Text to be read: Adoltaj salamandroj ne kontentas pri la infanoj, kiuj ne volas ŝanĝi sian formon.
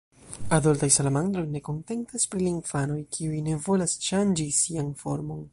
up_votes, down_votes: 2, 0